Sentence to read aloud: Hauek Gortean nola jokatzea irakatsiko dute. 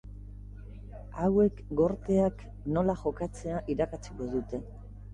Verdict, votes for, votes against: rejected, 0, 2